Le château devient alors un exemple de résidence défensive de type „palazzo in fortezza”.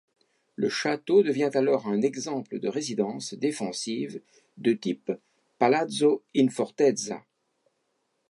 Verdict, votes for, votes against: accepted, 2, 0